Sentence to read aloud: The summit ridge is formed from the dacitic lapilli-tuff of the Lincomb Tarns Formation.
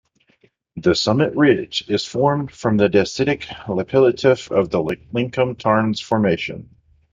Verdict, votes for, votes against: accepted, 2, 1